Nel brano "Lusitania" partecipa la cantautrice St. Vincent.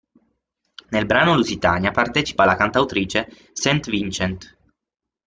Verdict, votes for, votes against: rejected, 0, 6